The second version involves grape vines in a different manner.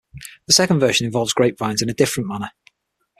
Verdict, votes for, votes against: accepted, 6, 0